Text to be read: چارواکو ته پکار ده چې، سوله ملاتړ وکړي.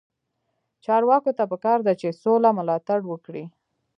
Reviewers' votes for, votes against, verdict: 0, 2, rejected